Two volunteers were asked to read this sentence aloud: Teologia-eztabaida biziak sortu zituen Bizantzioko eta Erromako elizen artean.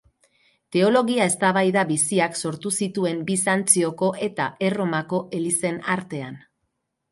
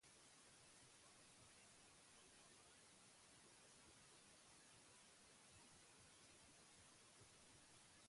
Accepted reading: first